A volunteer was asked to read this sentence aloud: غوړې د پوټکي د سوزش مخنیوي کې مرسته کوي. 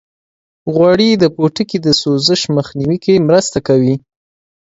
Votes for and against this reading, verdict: 2, 1, accepted